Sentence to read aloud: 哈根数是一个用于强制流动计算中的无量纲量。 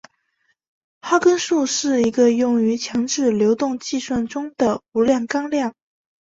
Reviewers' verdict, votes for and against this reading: accepted, 3, 0